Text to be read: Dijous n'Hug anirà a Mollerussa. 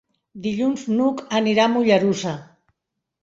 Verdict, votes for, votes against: rejected, 1, 2